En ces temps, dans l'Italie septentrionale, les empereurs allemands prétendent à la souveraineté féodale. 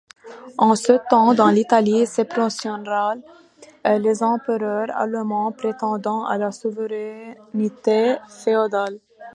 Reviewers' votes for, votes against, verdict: 0, 2, rejected